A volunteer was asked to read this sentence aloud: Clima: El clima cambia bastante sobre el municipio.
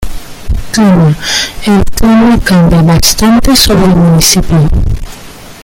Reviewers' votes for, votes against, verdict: 1, 2, rejected